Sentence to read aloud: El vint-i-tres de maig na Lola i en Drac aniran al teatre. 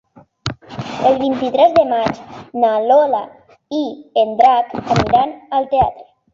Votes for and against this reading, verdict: 3, 0, accepted